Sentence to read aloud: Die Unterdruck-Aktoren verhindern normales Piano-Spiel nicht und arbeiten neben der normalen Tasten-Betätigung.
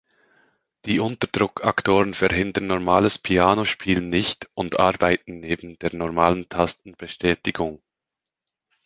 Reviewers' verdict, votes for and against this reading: rejected, 1, 2